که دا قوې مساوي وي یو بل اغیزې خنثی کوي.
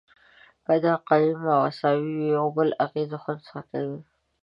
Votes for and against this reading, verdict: 1, 2, rejected